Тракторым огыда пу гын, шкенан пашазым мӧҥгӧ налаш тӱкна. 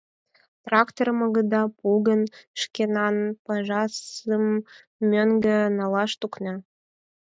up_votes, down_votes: 0, 4